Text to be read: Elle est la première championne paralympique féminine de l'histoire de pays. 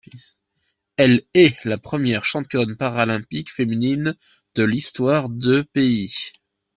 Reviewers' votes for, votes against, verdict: 2, 0, accepted